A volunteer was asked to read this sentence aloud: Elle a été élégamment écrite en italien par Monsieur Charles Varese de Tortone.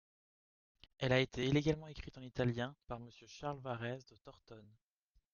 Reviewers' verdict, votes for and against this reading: accepted, 2, 0